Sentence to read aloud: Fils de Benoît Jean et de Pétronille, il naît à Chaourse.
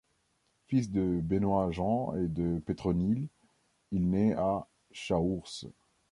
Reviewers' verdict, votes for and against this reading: rejected, 1, 2